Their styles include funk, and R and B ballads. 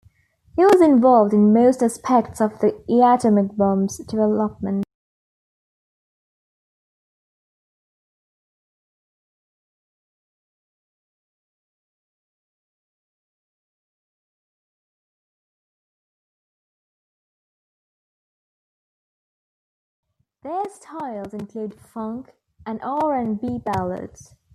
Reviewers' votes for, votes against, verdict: 0, 2, rejected